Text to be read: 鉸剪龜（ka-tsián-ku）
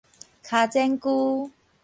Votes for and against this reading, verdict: 2, 2, rejected